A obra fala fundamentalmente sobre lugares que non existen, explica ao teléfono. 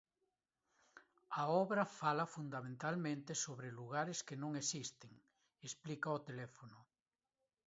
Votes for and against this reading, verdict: 2, 0, accepted